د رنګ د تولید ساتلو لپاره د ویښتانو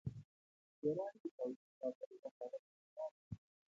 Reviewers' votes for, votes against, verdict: 1, 2, rejected